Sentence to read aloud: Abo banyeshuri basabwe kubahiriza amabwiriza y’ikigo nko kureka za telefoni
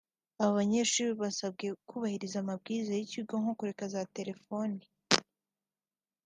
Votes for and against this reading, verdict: 2, 0, accepted